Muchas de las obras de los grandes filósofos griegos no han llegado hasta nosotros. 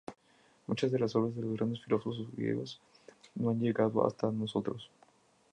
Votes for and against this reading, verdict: 2, 2, rejected